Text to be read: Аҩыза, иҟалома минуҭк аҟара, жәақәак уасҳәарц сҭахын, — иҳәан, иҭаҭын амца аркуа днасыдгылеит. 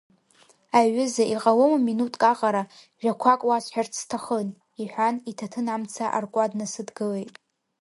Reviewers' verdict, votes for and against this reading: accepted, 2, 1